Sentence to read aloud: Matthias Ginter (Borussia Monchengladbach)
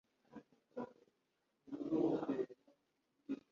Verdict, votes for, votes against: rejected, 1, 2